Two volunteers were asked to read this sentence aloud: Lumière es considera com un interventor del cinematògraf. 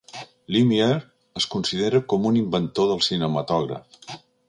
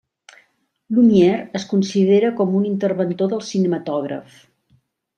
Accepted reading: second